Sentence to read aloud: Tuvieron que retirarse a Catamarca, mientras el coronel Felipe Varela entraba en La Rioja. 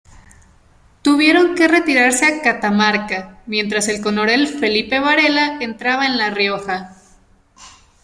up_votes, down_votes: 0, 2